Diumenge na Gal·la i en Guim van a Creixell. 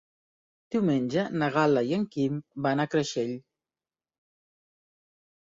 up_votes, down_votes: 0, 2